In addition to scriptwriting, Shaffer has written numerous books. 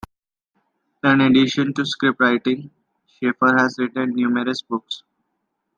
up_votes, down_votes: 2, 0